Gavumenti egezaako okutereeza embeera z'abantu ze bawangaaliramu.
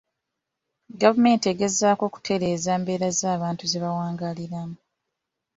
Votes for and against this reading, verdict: 3, 0, accepted